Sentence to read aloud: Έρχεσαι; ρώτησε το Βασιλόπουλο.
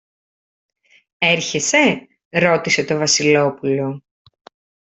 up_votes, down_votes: 2, 0